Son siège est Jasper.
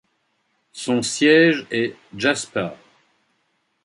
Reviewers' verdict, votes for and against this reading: accepted, 2, 0